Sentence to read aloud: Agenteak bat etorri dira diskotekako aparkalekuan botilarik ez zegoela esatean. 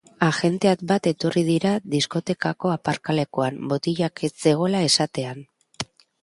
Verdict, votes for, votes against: rejected, 1, 2